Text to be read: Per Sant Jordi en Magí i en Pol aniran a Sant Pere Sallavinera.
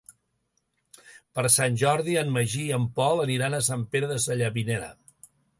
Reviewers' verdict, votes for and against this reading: rejected, 1, 2